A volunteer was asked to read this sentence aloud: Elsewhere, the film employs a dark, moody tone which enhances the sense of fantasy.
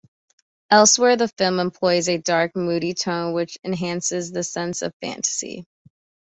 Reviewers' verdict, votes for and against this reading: accepted, 2, 0